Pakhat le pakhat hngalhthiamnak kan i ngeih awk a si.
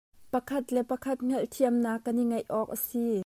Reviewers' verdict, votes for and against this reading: accepted, 2, 0